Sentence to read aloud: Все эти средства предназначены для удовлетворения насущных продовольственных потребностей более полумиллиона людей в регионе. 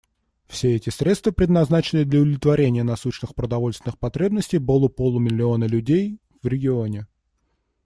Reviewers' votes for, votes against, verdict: 0, 2, rejected